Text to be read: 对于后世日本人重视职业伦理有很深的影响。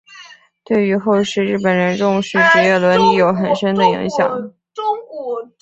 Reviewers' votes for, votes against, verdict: 3, 0, accepted